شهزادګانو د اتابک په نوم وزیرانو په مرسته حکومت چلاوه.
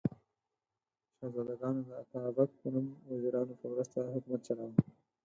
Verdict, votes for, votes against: accepted, 4, 2